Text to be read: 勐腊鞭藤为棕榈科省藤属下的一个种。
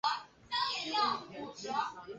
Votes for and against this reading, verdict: 0, 3, rejected